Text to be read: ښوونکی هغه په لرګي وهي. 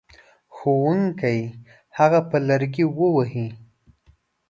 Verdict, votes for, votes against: rejected, 1, 3